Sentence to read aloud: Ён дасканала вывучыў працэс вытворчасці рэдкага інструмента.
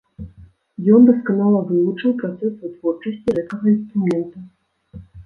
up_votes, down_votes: 1, 2